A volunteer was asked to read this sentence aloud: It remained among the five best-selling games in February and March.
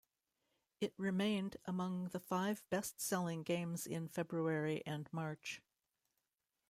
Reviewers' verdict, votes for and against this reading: accepted, 2, 0